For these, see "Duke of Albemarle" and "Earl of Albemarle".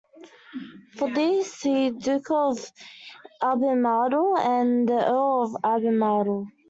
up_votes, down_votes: 1, 2